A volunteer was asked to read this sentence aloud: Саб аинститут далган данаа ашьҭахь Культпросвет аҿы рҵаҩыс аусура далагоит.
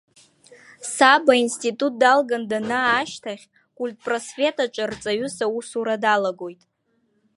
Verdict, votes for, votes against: accepted, 2, 0